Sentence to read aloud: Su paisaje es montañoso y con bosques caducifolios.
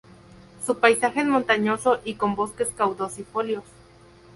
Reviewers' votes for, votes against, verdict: 2, 4, rejected